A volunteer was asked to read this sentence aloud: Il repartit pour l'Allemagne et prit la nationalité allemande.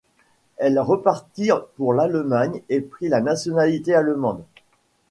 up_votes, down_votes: 0, 2